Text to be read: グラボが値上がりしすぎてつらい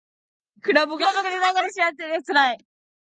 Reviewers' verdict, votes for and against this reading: rejected, 0, 3